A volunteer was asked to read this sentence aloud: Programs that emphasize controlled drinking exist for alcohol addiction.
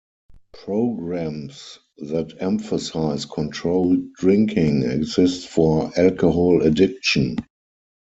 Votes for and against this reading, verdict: 4, 0, accepted